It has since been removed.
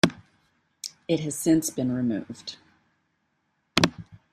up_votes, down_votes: 2, 0